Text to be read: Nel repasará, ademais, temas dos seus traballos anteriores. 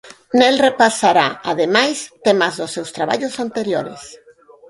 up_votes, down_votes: 4, 0